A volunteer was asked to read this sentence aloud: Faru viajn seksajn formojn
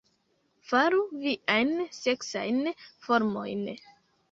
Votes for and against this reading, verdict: 3, 0, accepted